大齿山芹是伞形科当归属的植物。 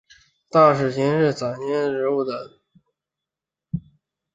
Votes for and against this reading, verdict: 0, 3, rejected